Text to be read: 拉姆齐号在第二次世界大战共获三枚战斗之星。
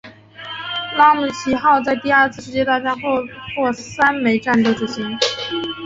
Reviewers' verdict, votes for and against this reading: accepted, 2, 0